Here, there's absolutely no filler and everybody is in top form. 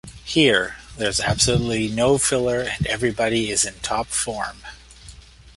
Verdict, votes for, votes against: accepted, 2, 0